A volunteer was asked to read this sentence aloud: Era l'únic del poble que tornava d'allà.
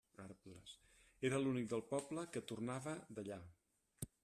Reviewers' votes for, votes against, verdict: 1, 2, rejected